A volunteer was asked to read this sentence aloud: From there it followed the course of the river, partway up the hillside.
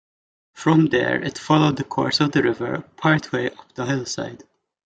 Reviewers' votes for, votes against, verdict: 1, 2, rejected